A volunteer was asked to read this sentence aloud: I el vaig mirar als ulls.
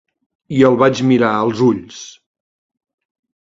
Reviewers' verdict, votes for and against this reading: accepted, 2, 0